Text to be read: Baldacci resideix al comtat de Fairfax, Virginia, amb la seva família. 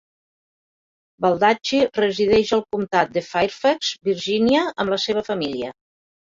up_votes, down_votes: 2, 1